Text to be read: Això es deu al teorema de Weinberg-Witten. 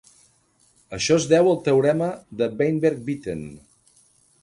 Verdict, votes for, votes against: accepted, 3, 0